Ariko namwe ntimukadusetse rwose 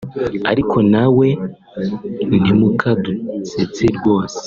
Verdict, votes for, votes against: rejected, 0, 2